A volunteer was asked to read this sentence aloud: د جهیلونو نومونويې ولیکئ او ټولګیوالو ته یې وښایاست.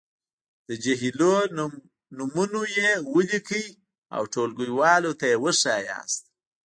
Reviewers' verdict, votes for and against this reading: accepted, 3, 2